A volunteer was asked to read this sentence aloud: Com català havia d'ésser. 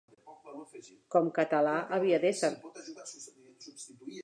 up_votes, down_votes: 0, 2